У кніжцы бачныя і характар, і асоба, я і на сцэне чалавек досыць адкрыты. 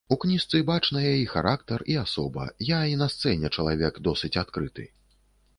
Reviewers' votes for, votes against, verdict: 2, 0, accepted